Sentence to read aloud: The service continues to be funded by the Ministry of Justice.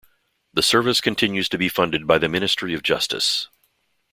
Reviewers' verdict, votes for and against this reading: accepted, 2, 0